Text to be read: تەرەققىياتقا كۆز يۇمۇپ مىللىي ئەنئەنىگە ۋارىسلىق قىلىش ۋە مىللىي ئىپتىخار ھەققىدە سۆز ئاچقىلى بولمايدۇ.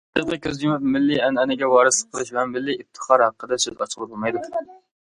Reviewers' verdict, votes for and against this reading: rejected, 0, 2